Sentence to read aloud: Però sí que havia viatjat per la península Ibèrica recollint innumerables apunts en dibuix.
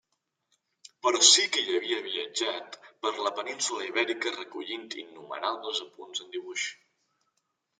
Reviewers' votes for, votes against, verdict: 1, 2, rejected